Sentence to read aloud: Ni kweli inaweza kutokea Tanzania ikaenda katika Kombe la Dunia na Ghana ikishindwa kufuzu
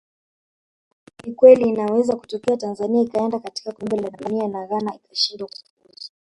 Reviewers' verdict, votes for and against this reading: rejected, 0, 2